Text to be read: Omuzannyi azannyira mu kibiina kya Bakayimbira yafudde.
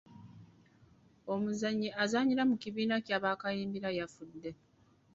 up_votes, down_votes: 0, 2